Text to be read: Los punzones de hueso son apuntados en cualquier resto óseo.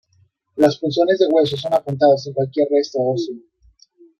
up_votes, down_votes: 2, 3